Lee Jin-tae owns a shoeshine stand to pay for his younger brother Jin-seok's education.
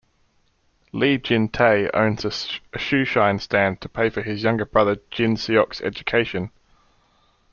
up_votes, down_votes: 0, 2